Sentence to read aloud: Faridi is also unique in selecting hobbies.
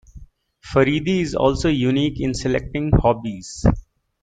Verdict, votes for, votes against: accepted, 2, 0